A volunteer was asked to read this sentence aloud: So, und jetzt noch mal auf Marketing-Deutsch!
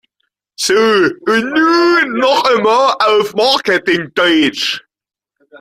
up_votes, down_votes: 0, 2